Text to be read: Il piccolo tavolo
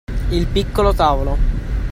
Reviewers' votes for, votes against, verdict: 2, 0, accepted